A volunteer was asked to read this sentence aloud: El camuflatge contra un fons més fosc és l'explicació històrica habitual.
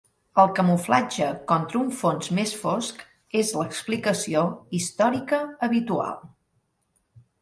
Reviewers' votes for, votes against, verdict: 3, 0, accepted